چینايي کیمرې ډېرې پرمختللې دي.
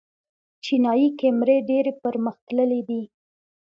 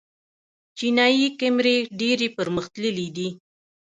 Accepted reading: first